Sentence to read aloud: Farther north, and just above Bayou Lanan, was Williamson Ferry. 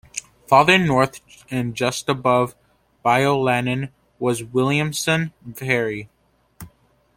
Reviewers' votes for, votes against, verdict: 2, 0, accepted